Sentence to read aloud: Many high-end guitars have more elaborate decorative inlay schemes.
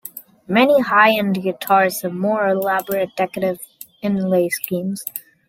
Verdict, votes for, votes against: accepted, 2, 0